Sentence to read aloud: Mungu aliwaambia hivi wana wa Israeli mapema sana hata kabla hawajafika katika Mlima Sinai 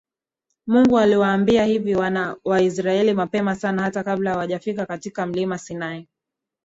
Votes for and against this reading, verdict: 2, 0, accepted